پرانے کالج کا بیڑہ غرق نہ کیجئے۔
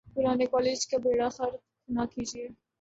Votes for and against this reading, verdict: 2, 1, accepted